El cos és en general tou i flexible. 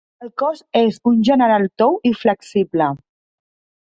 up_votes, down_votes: 0, 2